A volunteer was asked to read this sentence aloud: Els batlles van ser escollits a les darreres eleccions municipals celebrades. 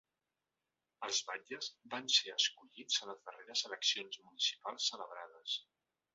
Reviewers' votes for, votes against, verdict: 1, 2, rejected